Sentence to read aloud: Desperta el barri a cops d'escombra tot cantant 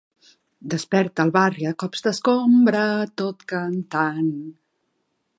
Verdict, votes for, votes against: accepted, 2, 0